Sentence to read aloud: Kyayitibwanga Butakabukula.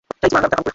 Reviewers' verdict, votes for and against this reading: rejected, 0, 2